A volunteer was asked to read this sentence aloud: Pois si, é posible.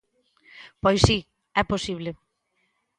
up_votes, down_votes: 2, 0